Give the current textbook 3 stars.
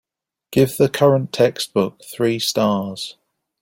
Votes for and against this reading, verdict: 0, 2, rejected